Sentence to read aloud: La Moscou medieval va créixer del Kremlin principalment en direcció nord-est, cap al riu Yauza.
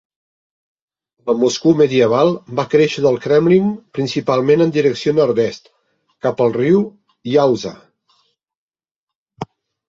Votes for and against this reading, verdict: 3, 0, accepted